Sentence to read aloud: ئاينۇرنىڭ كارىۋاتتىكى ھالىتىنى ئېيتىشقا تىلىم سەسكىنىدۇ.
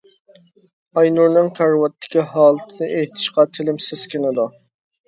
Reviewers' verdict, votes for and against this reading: accepted, 2, 0